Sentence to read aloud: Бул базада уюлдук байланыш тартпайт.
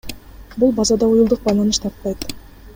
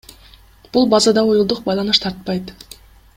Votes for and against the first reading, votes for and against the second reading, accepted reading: 2, 0, 1, 2, first